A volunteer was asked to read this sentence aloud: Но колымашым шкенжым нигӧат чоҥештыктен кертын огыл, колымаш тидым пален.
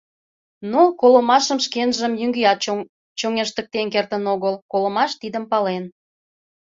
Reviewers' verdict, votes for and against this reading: rejected, 0, 2